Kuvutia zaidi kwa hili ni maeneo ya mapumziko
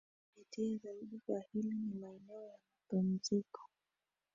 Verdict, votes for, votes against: accepted, 2, 1